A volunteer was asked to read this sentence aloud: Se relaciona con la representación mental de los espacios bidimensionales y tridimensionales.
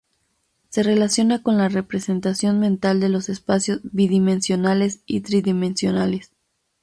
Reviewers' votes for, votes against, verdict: 2, 0, accepted